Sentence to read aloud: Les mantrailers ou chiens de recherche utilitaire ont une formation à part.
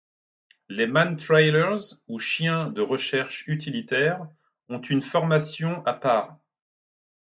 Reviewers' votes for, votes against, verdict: 2, 0, accepted